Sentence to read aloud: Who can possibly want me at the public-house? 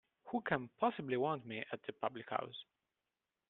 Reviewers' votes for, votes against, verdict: 0, 2, rejected